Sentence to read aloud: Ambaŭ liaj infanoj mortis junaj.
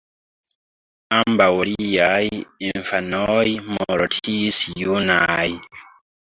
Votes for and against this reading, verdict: 0, 3, rejected